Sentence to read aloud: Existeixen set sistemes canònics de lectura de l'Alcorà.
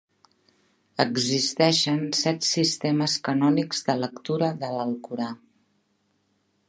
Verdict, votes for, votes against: accepted, 3, 0